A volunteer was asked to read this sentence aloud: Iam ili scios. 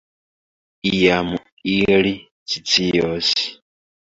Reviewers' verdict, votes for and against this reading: accepted, 2, 0